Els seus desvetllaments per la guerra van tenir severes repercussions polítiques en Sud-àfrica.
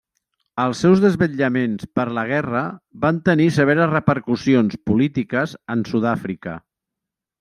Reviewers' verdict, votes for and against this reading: accepted, 3, 0